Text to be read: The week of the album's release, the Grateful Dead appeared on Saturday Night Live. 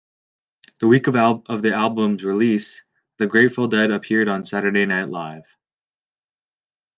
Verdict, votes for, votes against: rejected, 0, 2